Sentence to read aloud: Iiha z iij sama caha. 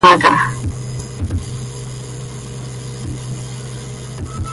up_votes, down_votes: 0, 2